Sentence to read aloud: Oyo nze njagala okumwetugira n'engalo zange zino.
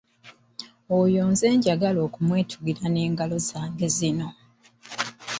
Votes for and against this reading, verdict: 0, 2, rejected